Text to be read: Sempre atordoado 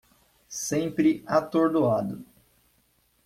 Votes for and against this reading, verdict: 2, 0, accepted